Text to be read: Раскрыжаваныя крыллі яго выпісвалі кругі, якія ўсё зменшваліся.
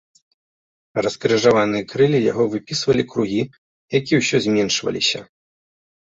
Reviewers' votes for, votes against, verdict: 3, 0, accepted